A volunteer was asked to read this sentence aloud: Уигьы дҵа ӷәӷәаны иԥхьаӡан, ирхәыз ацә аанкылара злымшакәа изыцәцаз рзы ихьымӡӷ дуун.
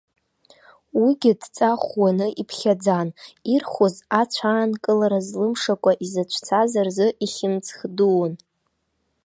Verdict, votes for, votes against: accepted, 2, 0